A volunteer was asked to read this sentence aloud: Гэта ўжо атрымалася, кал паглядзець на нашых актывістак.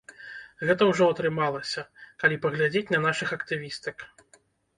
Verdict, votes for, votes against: rejected, 0, 2